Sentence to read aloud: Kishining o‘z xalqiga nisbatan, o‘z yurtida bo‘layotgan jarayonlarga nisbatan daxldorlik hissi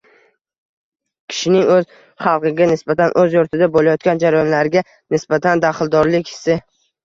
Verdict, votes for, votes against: rejected, 1, 2